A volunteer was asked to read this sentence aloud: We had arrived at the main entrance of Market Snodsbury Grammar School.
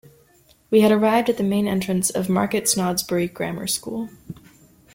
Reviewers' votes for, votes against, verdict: 2, 0, accepted